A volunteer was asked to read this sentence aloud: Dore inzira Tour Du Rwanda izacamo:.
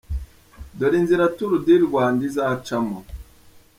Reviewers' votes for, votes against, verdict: 2, 0, accepted